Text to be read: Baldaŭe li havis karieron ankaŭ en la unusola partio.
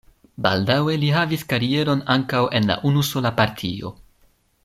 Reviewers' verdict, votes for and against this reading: accepted, 2, 0